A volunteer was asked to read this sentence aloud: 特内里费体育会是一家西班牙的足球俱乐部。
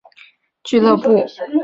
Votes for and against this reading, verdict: 3, 3, rejected